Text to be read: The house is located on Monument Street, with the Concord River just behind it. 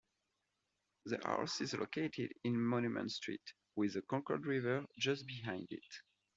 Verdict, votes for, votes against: accepted, 2, 1